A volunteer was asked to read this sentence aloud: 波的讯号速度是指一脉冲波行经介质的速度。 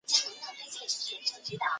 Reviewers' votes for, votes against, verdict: 0, 2, rejected